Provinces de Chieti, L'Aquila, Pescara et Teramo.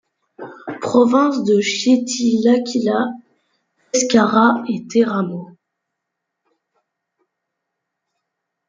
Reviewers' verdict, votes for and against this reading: rejected, 0, 2